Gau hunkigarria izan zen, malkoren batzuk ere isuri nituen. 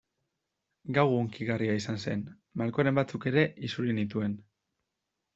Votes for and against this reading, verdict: 2, 0, accepted